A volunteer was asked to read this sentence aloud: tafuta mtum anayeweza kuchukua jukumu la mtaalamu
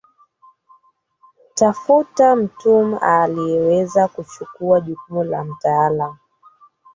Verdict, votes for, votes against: rejected, 0, 3